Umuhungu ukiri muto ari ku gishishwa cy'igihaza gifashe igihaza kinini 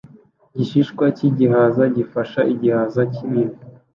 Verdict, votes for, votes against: rejected, 2, 3